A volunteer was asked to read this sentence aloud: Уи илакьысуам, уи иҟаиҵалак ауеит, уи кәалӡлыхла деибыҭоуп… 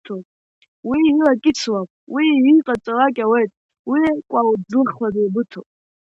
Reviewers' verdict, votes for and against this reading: rejected, 1, 2